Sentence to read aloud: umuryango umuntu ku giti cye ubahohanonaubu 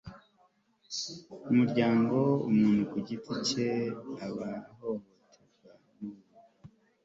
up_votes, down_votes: 1, 2